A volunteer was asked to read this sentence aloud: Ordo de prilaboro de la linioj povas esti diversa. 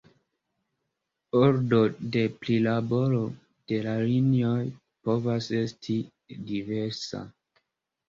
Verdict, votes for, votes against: rejected, 0, 2